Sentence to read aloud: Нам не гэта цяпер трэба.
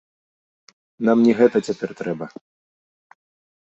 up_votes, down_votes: 2, 0